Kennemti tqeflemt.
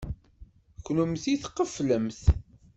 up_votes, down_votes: 0, 2